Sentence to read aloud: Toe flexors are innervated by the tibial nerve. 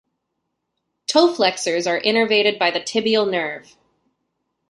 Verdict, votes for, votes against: accepted, 2, 0